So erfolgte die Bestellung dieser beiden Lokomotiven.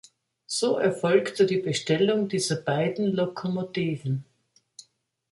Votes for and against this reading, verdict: 2, 0, accepted